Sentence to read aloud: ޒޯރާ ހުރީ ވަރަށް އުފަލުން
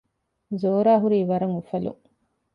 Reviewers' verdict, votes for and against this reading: accepted, 2, 0